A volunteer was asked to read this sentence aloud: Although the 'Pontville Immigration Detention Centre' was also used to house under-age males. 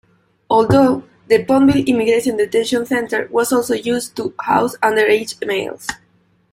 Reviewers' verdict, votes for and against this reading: rejected, 0, 2